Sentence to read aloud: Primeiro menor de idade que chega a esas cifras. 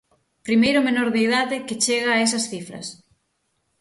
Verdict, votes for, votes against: accepted, 6, 0